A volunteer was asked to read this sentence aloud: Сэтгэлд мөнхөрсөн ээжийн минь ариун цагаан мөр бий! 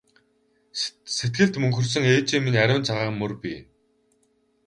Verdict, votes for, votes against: rejected, 2, 2